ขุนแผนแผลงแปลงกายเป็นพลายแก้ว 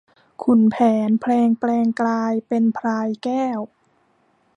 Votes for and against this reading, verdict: 0, 2, rejected